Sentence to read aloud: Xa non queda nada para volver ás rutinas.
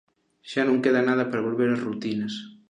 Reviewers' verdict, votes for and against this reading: accepted, 2, 0